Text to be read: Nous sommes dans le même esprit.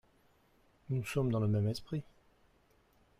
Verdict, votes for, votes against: rejected, 0, 2